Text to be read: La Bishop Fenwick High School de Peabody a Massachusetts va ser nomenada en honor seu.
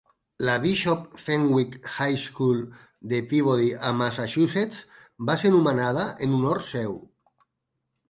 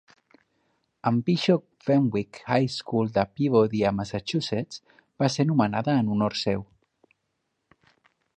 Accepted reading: first